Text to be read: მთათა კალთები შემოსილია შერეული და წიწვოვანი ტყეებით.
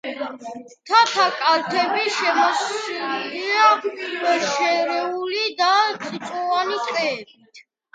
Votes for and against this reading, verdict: 2, 0, accepted